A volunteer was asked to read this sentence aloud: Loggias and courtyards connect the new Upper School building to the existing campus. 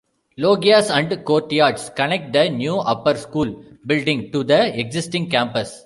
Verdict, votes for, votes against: rejected, 1, 2